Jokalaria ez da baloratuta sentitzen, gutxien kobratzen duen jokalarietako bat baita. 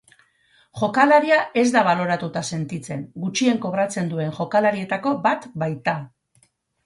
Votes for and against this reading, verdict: 6, 0, accepted